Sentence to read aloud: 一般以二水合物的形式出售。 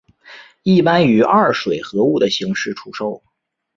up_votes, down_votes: 2, 0